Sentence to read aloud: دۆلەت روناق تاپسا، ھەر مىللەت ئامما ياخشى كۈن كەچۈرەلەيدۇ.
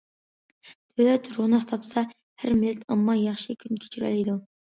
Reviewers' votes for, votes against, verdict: 2, 1, accepted